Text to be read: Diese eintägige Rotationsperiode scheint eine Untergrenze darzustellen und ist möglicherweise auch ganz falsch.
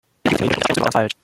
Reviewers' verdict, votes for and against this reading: rejected, 0, 2